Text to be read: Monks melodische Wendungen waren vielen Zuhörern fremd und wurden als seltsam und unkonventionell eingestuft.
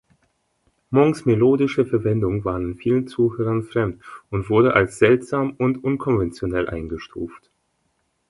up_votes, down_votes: 1, 2